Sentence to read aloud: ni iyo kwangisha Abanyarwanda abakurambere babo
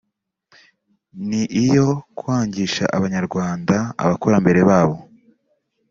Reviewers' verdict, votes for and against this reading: accepted, 2, 0